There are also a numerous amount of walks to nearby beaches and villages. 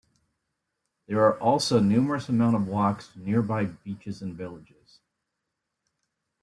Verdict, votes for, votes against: rejected, 1, 2